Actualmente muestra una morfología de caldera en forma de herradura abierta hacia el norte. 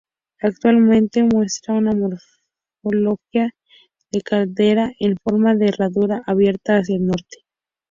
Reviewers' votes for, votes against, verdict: 0, 2, rejected